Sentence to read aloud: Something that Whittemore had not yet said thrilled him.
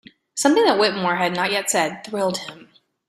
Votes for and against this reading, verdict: 2, 0, accepted